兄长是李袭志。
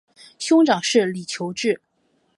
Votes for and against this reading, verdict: 2, 0, accepted